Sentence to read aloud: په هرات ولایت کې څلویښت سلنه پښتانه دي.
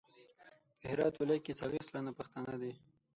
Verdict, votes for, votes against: rejected, 3, 6